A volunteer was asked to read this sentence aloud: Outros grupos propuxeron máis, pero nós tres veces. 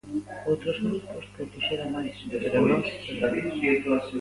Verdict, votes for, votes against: rejected, 0, 2